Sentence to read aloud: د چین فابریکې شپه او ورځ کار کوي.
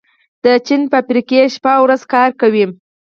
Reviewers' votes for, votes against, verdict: 4, 2, accepted